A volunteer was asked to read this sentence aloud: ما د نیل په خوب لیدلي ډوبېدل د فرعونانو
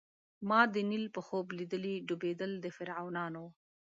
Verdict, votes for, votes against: accepted, 2, 0